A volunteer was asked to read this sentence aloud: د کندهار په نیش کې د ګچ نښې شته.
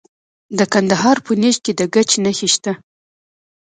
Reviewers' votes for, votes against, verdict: 2, 0, accepted